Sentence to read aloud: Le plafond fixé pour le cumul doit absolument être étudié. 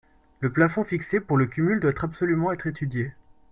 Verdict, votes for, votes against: accepted, 2, 0